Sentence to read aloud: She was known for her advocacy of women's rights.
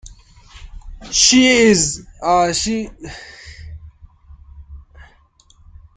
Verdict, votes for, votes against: rejected, 0, 3